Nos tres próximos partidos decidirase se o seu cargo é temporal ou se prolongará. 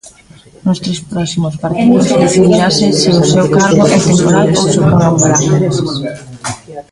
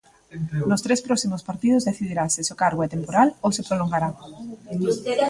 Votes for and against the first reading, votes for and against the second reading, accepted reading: 0, 2, 2, 0, second